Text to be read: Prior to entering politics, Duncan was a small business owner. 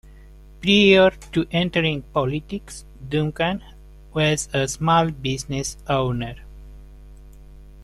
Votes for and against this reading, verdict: 2, 0, accepted